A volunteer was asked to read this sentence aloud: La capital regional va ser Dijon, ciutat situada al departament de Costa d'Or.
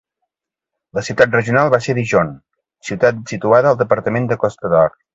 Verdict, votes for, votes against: rejected, 0, 3